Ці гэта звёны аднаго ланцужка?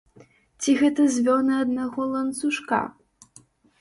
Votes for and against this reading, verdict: 2, 0, accepted